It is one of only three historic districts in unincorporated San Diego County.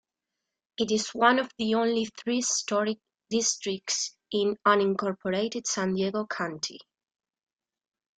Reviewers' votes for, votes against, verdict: 2, 0, accepted